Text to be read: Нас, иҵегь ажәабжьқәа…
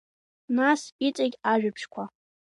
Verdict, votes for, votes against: accepted, 2, 0